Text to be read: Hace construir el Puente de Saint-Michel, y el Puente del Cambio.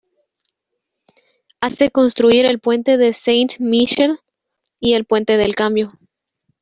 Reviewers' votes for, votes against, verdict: 0, 2, rejected